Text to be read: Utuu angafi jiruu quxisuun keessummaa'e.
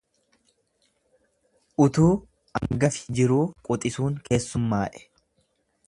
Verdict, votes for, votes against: rejected, 1, 2